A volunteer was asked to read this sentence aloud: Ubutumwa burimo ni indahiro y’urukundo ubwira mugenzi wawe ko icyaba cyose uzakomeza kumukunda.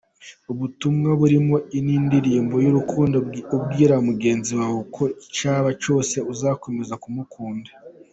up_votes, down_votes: 2, 3